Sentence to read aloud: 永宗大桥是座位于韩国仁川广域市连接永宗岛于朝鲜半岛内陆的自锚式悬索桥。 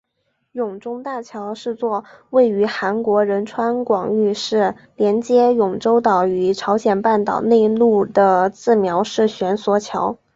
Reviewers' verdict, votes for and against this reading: accepted, 2, 0